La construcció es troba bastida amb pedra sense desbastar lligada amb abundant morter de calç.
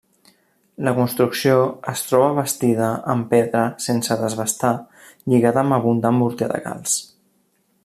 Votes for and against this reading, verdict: 2, 0, accepted